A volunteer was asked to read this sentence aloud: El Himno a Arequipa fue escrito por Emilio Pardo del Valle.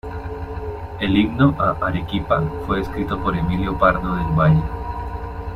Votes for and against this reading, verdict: 2, 1, accepted